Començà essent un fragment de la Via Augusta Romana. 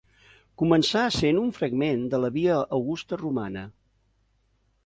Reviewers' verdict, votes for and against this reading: accepted, 3, 0